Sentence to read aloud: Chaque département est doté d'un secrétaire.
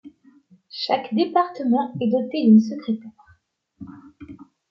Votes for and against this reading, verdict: 1, 2, rejected